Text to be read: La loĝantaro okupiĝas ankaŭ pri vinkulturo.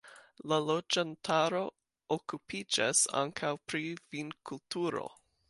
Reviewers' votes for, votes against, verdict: 2, 1, accepted